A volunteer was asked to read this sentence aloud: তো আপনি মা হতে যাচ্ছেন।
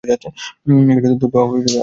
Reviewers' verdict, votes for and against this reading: rejected, 0, 2